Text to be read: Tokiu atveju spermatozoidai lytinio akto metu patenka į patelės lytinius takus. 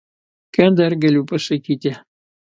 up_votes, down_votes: 1, 2